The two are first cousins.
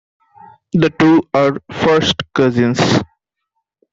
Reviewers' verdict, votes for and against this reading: accepted, 2, 0